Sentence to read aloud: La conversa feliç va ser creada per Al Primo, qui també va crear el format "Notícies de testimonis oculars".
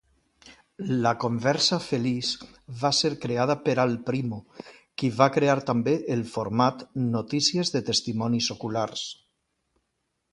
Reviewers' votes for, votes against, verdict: 0, 2, rejected